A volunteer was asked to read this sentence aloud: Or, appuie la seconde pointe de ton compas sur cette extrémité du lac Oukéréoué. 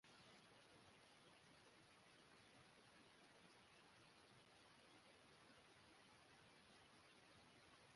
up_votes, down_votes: 1, 2